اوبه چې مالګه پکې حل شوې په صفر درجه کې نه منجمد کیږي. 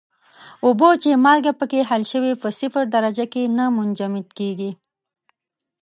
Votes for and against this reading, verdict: 2, 0, accepted